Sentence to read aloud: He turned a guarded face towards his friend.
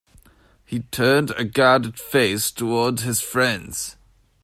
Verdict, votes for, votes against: rejected, 0, 2